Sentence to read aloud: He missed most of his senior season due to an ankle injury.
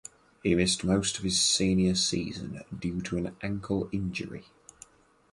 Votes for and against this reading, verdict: 4, 0, accepted